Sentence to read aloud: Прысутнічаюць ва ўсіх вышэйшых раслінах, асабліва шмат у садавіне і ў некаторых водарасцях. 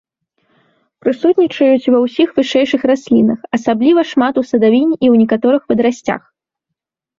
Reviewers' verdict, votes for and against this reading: rejected, 0, 2